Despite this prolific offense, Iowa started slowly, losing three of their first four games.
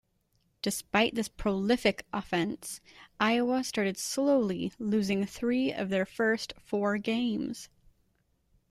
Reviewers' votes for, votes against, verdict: 2, 0, accepted